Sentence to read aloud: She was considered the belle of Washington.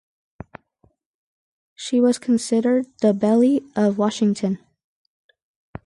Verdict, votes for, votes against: accepted, 2, 0